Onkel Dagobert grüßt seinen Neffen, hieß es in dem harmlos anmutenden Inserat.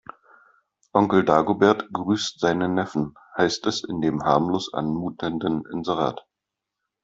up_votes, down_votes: 1, 2